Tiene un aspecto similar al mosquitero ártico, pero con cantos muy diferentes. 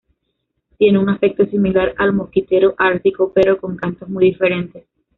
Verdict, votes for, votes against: accepted, 2, 0